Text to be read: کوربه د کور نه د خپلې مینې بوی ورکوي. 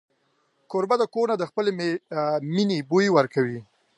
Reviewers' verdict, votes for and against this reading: rejected, 0, 2